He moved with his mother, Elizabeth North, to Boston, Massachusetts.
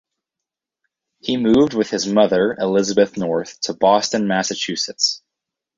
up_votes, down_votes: 2, 2